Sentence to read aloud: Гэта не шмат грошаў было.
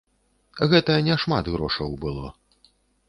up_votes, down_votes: 2, 0